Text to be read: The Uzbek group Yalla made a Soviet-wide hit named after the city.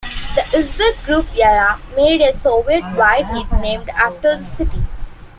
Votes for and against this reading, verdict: 2, 0, accepted